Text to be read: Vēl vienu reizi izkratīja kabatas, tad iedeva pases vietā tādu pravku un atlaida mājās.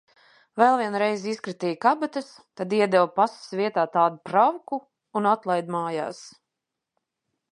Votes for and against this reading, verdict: 2, 0, accepted